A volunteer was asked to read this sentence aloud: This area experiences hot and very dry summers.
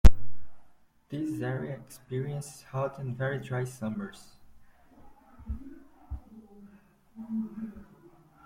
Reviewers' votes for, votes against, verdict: 0, 2, rejected